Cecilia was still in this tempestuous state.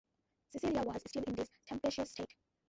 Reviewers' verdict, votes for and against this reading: rejected, 0, 2